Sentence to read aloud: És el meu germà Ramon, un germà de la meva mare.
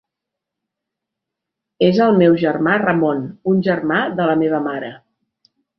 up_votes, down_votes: 2, 0